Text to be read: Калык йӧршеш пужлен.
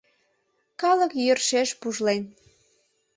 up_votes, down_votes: 2, 0